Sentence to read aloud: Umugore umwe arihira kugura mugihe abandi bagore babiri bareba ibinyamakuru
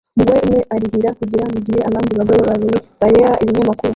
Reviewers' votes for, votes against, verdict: 0, 2, rejected